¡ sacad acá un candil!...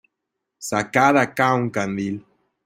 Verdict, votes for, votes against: accepted, 2, 0